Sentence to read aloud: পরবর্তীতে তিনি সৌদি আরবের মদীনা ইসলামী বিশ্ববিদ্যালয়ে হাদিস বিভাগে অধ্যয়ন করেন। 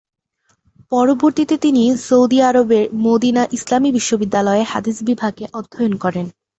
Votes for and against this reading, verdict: 2, 0, accepted